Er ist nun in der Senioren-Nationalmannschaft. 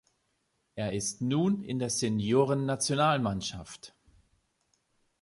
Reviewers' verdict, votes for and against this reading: accepted, 2, 0